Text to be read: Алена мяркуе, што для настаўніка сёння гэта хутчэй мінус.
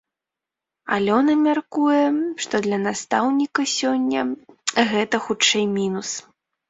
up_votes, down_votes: 0, 2